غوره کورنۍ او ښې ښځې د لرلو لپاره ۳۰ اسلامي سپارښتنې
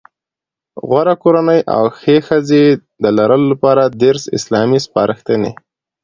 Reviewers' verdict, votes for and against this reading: rejected, 0, 2